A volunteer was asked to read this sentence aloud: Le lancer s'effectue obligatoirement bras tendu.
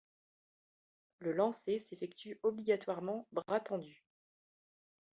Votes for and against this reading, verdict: 2, 0, accepted